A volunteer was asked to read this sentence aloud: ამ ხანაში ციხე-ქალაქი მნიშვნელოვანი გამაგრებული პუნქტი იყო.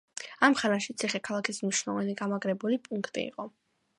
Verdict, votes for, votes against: rejected, 1, 2